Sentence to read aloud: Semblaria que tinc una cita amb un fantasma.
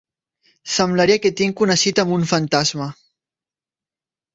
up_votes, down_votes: 3, 0